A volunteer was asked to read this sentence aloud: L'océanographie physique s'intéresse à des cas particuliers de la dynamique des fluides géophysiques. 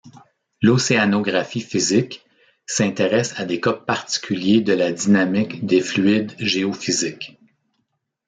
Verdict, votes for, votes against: accepted, 2, 0